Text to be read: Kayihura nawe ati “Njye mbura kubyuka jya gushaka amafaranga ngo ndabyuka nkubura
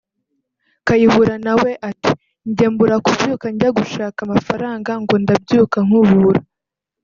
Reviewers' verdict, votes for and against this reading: accepted, 2, 1